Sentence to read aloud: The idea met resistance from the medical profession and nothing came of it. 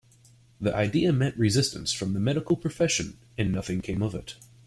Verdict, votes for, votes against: accepted, 2, 0